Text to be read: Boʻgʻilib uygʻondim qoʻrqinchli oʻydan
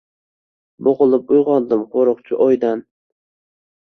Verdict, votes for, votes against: accepted, 2, 0